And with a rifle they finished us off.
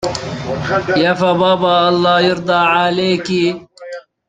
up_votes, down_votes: 0, 2